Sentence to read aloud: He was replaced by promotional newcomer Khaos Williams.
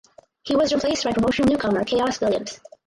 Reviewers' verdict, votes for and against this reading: rejected, 0, 4